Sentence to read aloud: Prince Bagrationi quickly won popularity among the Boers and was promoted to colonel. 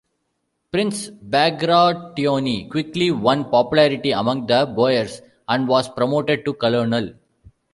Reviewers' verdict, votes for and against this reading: rejected, 0, 2